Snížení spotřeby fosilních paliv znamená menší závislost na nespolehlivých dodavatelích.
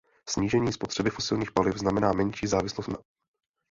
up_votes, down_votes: 0, 2